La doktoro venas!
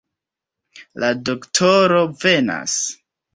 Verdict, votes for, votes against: accepted, 2, 1